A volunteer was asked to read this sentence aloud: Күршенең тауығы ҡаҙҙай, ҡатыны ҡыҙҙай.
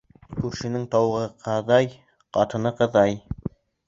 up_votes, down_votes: 0, 2